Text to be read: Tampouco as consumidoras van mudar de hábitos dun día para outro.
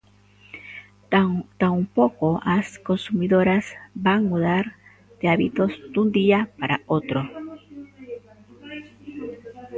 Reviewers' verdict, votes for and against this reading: rejected, 0, 2